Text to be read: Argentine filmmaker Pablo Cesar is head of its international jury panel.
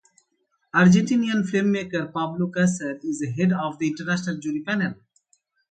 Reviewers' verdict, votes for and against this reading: rejected, 0, 2